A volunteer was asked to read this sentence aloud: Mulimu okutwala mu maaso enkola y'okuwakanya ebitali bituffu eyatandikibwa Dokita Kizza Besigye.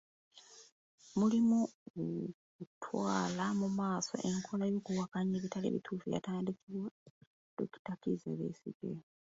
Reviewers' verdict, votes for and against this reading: rejected, 0, 2